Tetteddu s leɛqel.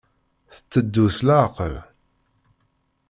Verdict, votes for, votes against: accepted, 2, 0